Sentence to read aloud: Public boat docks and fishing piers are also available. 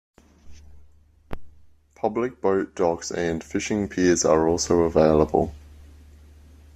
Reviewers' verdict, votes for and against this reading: accepted, 2, 0